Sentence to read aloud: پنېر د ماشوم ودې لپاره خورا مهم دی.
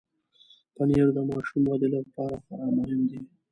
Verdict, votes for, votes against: accepted, 2, 0